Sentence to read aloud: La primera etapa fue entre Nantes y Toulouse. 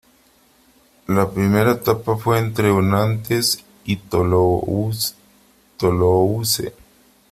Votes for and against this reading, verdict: 0, 3, rejected